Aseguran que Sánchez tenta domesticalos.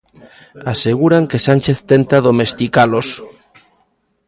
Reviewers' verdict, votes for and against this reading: accepted, 2, 0